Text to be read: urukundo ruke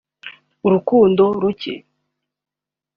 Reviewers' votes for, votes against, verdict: 2, 0, accepted